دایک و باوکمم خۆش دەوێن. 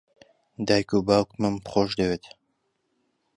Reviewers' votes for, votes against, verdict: 1, 2, rejected